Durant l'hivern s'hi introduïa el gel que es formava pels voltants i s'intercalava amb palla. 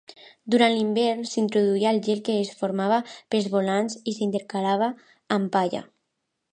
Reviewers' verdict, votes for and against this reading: rejected, 0, 2